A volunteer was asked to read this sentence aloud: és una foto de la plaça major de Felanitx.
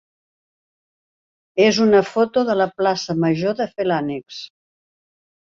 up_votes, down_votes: 2, 0